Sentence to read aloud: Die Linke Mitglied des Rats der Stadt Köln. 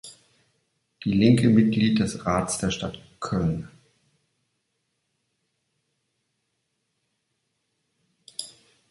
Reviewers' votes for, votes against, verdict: 3, 0, accepted